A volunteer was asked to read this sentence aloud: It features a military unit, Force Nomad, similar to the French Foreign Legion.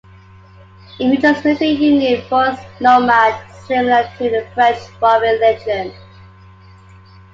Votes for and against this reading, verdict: 2, 3, rejected